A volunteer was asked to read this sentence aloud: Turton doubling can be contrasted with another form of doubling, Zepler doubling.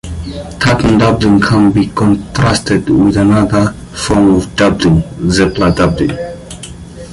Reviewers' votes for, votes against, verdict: 0, 2, rejected